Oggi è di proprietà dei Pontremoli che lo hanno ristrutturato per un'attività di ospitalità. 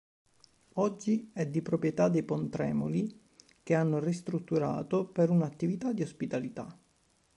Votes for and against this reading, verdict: 0, 2, rejected